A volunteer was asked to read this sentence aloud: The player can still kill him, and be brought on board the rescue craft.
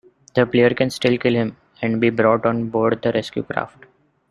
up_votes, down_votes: 0, 2